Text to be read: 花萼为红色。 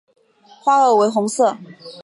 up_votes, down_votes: 3, 0